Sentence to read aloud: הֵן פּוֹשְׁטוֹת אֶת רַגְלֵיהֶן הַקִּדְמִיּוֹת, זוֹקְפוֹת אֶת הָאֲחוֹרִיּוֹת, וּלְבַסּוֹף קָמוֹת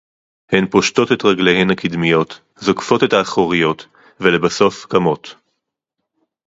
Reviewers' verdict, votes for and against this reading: rejected, 2, 2